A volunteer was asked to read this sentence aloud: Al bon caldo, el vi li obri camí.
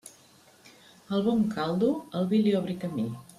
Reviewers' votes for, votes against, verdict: 2, 0, accepted